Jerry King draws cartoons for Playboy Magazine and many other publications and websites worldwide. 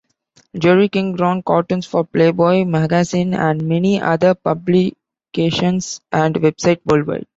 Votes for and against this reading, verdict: 2, 1, accepted